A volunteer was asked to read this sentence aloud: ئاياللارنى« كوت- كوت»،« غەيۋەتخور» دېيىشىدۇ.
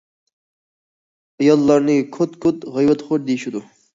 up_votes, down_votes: 2, 0